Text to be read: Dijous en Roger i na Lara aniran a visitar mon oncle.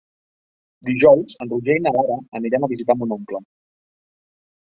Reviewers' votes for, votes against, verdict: 1, 2, rejected